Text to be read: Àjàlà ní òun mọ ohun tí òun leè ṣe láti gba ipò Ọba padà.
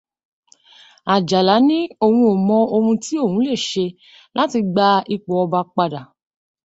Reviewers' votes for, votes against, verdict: 1, 2, rejected